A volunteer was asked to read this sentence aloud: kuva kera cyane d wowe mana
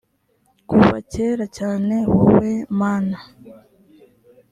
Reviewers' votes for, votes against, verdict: 1, 2, rejected